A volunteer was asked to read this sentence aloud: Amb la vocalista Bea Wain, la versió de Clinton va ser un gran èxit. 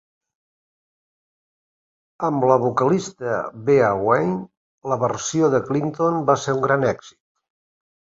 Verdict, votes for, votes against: accepted, 2, 0